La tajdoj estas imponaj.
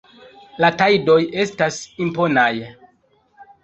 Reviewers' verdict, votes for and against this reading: accepted, 2, 0